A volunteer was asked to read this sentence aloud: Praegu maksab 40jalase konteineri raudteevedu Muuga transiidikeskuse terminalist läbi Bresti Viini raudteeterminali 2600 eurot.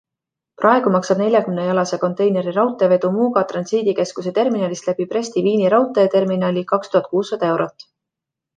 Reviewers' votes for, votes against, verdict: 0, 2, rejected